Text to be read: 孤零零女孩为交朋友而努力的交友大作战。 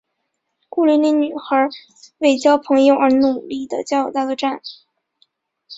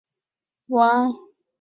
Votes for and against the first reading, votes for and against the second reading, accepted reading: 6, 0, 0, 2, first